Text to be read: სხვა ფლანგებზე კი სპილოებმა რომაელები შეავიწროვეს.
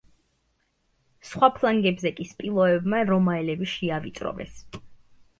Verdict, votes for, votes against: accepted, 2, 0